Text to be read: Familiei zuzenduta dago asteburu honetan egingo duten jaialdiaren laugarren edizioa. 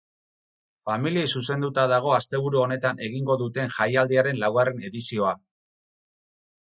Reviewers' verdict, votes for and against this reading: accepted, 4, 0